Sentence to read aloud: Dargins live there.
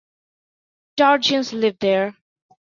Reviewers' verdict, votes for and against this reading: accepted, 2, 1